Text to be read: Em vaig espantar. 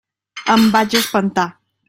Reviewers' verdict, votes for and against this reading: accepted, 3, 0